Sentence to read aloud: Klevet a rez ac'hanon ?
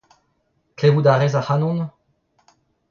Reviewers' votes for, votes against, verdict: 0, 2, rejected